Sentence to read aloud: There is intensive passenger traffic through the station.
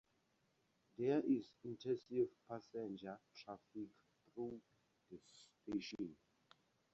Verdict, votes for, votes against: rejected, 0, 2